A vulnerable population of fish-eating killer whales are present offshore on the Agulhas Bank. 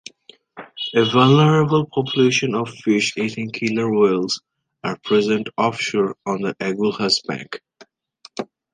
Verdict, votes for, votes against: accepted, 2, 1